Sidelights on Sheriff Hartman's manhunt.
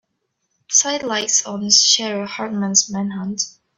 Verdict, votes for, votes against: rejected, 0, 2